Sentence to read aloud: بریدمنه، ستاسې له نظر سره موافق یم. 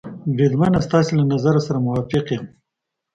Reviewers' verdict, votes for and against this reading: accepted, 2, 0